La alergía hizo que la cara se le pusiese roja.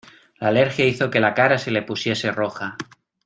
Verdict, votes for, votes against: accepted, 2, 0